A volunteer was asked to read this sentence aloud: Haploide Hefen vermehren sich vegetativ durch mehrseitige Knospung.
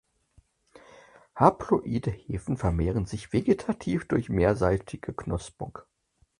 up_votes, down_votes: 4, 0